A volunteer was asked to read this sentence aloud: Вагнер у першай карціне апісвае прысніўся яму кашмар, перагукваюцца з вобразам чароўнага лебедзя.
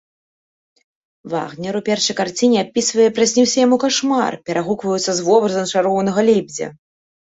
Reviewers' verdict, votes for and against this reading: accepted, 2, 0